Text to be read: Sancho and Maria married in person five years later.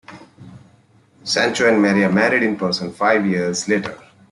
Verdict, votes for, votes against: accepted, 2, 0